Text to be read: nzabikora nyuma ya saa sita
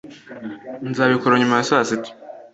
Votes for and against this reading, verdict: 2, 0, accepted